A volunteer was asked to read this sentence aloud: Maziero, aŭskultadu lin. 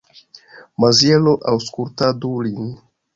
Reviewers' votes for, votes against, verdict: 0, 2, rejected